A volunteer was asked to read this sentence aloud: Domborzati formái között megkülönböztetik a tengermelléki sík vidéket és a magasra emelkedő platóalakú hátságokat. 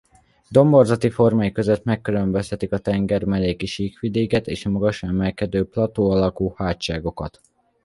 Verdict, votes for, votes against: accepted, 2, 0